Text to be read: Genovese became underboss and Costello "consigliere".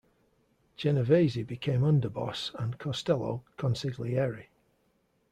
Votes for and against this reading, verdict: 2, 0, accepted